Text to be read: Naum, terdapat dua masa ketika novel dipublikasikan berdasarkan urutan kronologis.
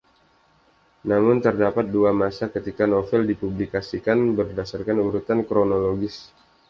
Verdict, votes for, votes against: rejected, 0, 2